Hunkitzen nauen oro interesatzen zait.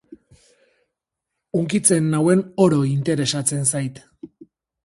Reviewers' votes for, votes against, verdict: 6, 0, accepted